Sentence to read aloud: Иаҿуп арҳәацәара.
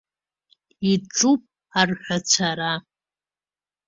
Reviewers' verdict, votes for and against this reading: accepted, 2, 0